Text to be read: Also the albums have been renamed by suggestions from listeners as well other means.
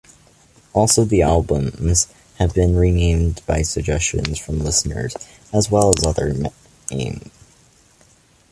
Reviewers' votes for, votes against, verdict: 2, 0, accepted